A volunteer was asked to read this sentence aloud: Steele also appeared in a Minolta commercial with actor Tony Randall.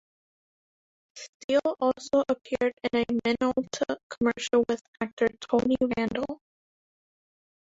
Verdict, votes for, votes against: rejected, 1, 3